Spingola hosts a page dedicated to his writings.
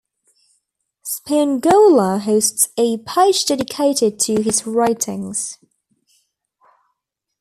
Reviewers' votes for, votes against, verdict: 2, 0, accepted